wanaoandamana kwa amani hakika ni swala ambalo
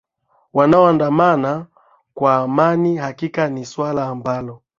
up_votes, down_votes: 2, 0